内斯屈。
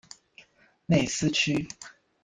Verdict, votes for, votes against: accepted, 2, 0